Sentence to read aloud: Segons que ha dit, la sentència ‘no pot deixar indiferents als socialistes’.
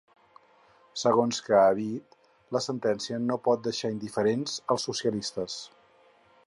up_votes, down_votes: 4, 0